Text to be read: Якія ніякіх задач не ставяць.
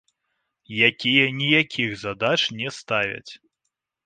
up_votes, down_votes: 1, 2